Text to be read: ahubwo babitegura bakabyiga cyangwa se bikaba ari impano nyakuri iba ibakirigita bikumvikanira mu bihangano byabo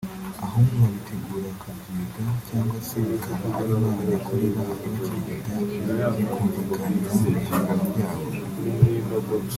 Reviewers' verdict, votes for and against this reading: rejected, 1, 2